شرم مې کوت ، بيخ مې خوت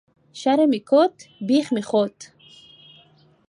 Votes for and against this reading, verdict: 3, 0, accepted